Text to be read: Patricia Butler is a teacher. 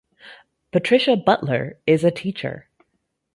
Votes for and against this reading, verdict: 2, 0, accepted